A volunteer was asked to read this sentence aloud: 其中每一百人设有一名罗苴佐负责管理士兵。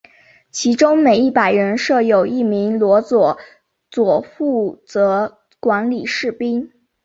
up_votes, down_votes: 7, 1